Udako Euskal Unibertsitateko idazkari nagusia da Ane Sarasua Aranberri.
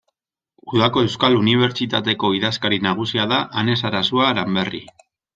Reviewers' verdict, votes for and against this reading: accepted, 2, 0